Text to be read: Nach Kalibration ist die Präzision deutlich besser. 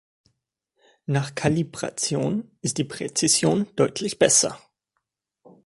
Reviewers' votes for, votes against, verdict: 3, 0, accepted